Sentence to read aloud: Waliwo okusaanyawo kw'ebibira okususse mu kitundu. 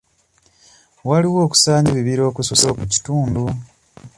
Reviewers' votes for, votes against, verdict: 1, 2, rejected